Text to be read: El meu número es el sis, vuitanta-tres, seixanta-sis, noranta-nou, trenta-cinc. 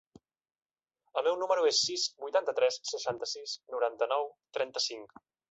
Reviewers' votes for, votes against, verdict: 1, 2, rejected